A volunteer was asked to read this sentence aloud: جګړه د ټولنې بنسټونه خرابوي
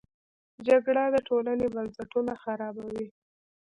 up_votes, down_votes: 0, 2